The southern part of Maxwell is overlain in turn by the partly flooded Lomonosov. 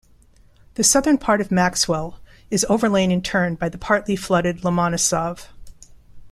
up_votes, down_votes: 3, 0